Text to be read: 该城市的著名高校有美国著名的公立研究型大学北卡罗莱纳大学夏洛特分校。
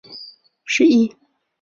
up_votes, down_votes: 0, 2